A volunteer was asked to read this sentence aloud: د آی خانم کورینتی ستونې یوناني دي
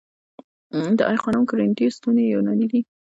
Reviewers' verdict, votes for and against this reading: rejected, 0, 2